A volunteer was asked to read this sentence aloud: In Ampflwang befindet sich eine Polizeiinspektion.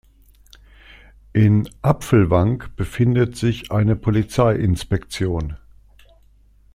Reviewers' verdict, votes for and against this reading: rejected, 1, 2